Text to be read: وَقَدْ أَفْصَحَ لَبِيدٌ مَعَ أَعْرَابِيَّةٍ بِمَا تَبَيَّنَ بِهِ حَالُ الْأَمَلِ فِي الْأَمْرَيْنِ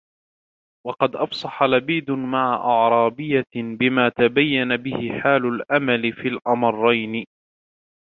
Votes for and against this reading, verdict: 2, 1, accepted